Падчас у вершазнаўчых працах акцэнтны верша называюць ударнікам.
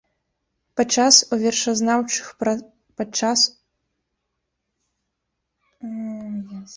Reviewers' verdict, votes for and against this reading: rejected, 0, 2